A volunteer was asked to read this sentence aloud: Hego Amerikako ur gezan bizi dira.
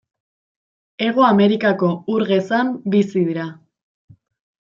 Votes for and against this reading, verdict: 2, 0, accepted